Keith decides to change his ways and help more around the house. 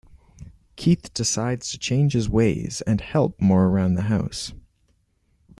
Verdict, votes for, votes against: accepted, 2, 0